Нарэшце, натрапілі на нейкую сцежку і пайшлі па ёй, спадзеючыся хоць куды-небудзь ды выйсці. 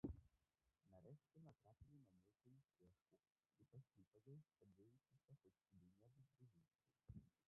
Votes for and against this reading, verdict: 0, 2, rejected